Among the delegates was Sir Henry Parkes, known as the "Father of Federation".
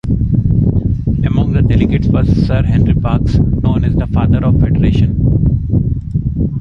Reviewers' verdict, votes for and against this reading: accepted, 2, 0